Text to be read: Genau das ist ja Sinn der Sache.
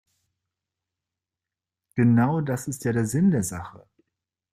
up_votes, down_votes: 0, 2